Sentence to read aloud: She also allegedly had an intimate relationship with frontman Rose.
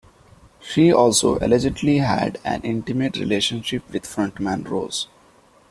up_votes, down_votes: 2, 0